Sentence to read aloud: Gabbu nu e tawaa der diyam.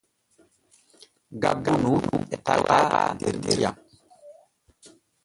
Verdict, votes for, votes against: rejected, 0, 2